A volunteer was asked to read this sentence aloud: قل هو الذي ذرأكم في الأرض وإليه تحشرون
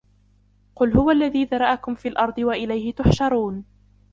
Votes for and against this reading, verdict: 2, 0, accepted